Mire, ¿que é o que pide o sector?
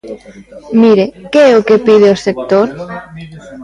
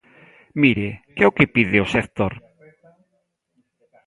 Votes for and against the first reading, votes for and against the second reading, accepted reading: 2, 1, 1, 2, first